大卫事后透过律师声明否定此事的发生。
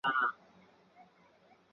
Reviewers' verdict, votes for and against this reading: rejected, 0, 3